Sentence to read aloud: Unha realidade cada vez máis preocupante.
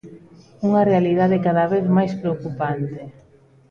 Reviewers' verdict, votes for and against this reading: rejected, 0, 2